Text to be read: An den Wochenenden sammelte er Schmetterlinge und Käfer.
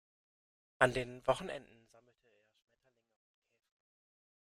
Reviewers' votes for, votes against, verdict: 0, 2, rejected